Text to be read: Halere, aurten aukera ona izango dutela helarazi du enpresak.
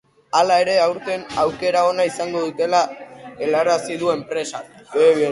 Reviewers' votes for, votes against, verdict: 0, 3, rejected